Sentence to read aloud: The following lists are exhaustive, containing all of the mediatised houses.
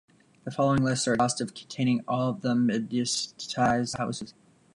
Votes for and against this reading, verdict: 0, 2, rejected